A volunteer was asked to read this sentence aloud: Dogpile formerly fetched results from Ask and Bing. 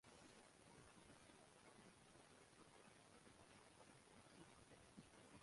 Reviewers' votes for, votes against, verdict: 0, 2, rejected